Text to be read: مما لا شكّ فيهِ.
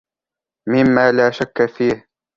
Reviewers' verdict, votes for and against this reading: accepted, 2, 0